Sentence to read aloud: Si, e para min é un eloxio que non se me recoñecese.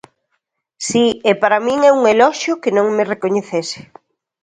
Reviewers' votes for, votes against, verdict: 0, 2, rejected